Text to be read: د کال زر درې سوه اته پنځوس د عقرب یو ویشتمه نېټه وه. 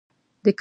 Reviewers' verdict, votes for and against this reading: rejected, 1, 2